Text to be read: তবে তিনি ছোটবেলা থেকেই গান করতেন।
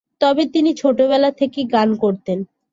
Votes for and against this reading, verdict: 2, 0, accepted